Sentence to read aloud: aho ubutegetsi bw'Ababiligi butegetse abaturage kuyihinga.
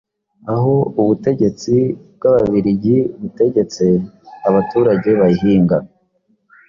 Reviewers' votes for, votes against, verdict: 1, 2, rejected